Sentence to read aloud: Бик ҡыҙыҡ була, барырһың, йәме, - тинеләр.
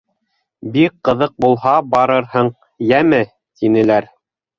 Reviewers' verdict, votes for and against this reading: rejected, 1, 2